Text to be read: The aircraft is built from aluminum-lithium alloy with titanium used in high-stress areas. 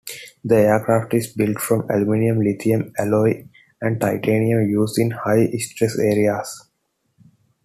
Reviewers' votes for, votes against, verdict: 0, 2, rejected